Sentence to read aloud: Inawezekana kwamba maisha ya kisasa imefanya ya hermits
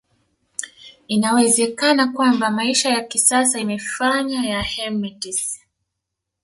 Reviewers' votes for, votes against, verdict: 1, 2, rejected